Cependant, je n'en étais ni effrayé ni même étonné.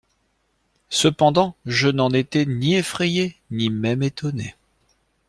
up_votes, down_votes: 2, 0